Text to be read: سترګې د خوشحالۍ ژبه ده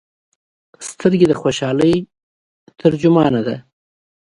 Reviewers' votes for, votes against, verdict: 0, 2, rejected